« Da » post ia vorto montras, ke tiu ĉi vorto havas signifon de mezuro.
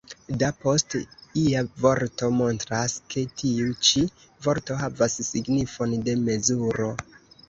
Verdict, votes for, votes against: rejected, 1, 2